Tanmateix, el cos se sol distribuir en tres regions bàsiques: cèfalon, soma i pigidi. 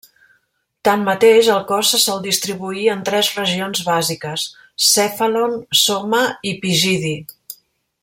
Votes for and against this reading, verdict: 2, 0, accepted